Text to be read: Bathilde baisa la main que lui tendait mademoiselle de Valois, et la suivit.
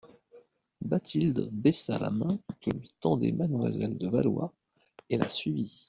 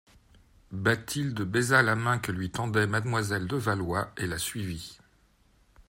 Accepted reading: second